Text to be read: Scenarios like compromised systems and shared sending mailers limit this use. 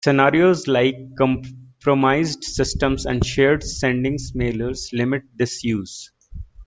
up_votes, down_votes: 1, 2